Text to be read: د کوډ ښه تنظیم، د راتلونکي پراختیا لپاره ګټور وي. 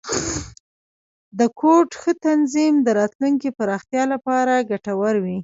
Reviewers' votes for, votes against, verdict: 1, 2, rejected